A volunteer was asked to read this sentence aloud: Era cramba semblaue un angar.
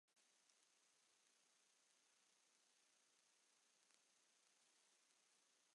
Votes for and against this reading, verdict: 0, 2, rejected